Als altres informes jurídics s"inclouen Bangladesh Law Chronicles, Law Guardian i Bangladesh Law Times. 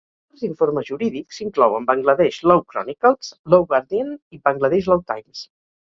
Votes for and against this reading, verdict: 0, 4, rejected